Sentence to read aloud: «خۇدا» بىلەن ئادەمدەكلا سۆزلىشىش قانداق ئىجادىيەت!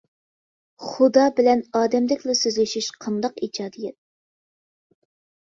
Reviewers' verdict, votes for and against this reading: accepted, 2, 0